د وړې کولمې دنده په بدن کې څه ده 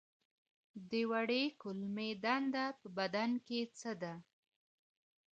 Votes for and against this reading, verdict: 2, 0, accepted